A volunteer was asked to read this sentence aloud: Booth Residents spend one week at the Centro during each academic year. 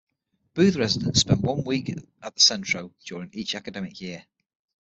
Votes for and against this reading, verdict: 6, 0, accepted